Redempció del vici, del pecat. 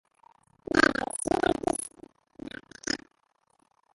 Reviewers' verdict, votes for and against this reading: rejected, 0, 2